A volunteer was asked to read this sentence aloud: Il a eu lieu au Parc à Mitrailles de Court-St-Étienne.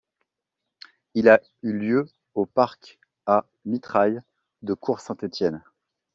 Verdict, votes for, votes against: accepted, 2, 0